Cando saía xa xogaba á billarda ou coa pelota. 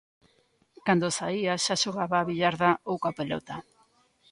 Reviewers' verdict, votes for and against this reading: accepted, 2, 0